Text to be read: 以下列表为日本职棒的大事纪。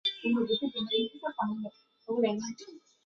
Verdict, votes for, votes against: rejected, 1, 3